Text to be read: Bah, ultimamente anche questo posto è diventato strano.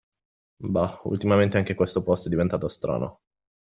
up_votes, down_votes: 2, 0